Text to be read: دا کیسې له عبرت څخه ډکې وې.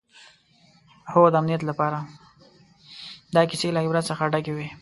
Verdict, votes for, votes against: rejected, 1, 2